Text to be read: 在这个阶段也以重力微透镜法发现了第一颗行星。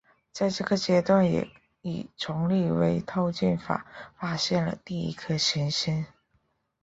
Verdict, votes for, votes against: accepted, 3, 2